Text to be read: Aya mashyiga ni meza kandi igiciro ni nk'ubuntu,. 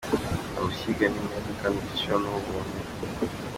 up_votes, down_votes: 2, 1